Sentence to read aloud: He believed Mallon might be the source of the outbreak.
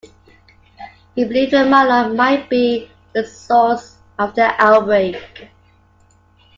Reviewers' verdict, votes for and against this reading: accepted, 2, 1